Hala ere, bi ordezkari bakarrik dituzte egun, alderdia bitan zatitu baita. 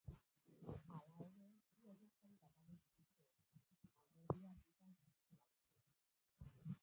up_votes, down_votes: 0, 2